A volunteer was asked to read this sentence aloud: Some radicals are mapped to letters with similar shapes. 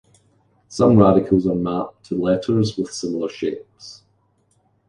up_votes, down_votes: 2, 0